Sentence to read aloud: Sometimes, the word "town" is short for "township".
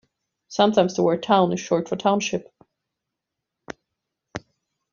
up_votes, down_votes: 2, 1